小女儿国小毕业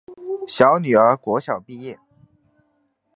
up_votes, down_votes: 2, 0